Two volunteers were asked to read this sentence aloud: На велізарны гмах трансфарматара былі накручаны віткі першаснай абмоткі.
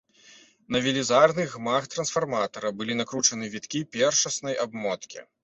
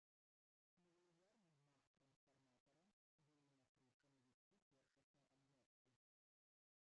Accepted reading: first